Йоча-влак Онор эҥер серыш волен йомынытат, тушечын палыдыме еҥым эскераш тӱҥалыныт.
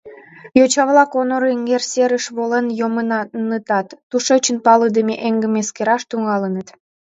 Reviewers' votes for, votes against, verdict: 0, 2, rejected